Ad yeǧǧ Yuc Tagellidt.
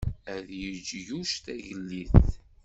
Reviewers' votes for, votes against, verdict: 2, 0, accepted